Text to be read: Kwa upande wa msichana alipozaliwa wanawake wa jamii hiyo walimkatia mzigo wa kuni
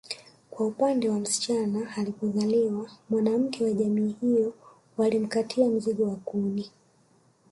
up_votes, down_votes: 1, 2